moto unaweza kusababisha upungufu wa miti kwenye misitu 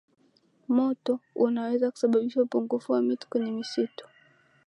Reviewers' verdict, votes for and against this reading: accepted, 13, 1